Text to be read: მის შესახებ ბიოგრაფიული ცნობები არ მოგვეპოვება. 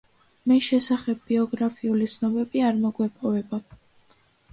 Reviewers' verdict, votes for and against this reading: accepted, 2, 0